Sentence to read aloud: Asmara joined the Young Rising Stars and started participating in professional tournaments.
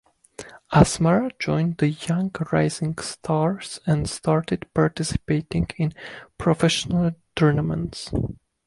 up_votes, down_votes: 1, 2